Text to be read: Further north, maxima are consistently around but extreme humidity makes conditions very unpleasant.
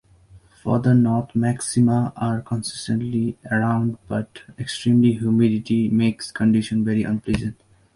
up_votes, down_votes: 2, 0